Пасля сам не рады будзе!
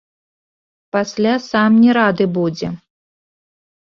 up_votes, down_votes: 2, 0